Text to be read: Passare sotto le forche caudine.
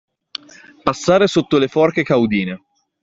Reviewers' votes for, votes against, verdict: 2, 0, accepted